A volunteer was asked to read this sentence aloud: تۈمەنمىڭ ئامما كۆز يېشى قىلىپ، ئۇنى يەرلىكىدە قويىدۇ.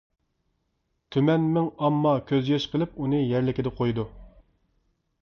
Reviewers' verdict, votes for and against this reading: accepted, 2, 0